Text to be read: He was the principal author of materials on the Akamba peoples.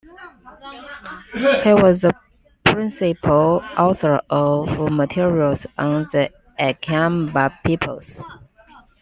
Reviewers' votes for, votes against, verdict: 2, 1, accepted